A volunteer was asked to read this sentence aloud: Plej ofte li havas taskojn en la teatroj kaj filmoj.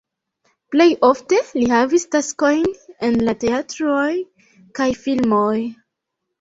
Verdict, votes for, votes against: rejected, 0, 3